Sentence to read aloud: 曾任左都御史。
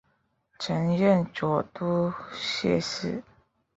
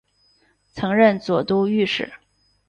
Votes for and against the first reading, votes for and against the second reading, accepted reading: 0, 2, 2, 0, second